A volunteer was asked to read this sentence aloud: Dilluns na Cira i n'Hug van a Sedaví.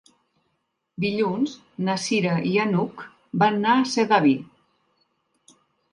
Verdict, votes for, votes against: rejected, 1, 3